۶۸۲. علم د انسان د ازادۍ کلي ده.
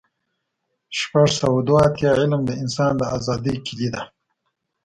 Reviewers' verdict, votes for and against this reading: rejected, 0, 2